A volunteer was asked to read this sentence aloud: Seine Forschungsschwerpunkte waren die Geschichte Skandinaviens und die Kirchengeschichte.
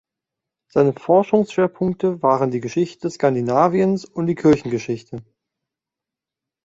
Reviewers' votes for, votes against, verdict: 2, 0, accepted